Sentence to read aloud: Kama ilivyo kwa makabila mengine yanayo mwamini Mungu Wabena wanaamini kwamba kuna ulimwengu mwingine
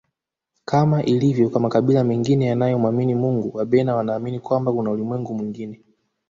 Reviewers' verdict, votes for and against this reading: accepted, 2, 0